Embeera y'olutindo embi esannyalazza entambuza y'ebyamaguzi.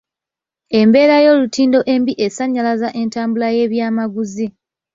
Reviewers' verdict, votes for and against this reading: rejected, 1, 2